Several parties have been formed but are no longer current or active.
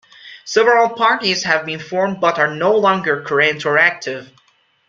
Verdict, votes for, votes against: accepted, 2, 0